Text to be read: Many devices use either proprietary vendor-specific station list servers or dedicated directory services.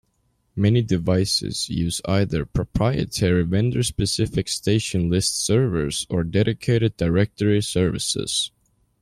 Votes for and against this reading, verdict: 2, 0, accepted